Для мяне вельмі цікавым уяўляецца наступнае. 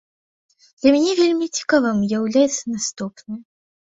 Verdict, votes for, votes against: accepted, 3, 0